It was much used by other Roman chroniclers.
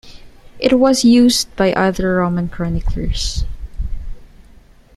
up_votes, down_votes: 0, 2